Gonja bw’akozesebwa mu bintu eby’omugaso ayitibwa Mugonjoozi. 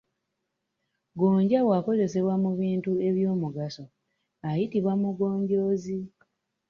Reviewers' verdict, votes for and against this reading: accepted, 2, 1